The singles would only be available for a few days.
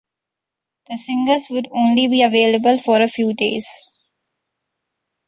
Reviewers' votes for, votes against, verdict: 2, 1, accepted